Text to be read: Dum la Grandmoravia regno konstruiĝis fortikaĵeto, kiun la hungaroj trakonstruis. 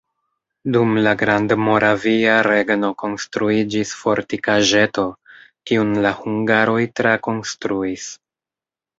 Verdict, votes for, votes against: accepted, 2, 1